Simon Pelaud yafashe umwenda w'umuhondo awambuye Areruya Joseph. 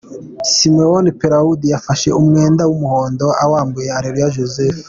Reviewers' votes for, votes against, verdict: 2, 0, accepted